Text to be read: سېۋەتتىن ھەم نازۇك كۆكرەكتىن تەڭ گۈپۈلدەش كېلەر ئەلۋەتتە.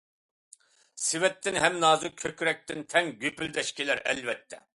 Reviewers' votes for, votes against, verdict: 2, 0, accepted